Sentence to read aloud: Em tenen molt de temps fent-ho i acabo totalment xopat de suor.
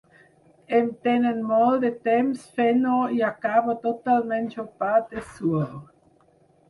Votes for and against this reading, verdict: 4, 0, accepted